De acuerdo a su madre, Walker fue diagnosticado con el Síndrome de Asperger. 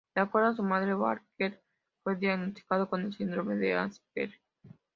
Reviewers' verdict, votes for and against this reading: accepted, 2, 0